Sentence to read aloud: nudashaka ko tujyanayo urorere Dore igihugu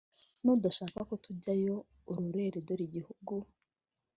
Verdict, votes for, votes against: accepted, 3, 0